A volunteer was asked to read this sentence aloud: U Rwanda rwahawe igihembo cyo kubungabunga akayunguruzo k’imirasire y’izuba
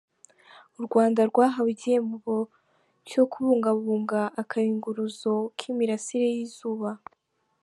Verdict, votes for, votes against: accepted, 3, 0